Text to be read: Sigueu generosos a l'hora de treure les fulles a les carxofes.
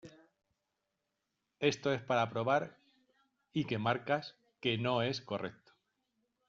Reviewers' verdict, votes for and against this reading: rejected, 0, 2